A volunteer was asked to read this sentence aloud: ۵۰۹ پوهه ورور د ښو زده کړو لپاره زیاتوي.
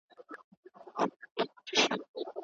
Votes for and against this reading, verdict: 0, 2, rejected